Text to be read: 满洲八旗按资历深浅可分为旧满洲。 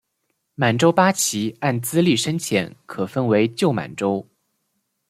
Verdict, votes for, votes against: accepted, 3, 0